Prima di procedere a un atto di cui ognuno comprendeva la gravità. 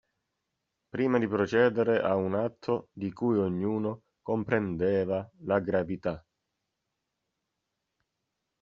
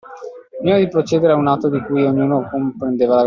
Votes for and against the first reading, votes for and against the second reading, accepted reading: 2, 0, 0, 2, first